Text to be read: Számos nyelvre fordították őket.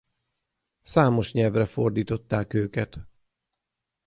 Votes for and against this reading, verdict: 6, 0, accepted